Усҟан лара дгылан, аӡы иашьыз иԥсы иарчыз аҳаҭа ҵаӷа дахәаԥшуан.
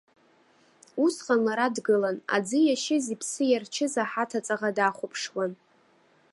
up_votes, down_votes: 0, 2